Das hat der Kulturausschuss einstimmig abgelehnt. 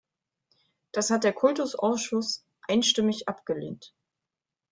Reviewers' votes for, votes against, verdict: 1, 2, rejected